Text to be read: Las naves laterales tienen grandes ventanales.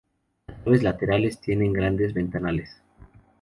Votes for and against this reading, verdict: 0, 2, rejected